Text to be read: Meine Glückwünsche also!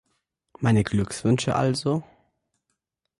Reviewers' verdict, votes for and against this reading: rejected, 1, 2